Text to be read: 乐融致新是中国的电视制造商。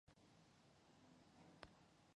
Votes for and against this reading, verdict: 0, 3, rejected